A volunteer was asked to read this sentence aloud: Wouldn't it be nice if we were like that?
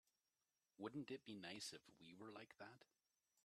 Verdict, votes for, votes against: rejected, 0, 2